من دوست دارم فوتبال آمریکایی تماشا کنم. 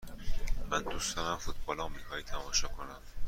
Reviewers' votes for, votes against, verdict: 2, 0, accepted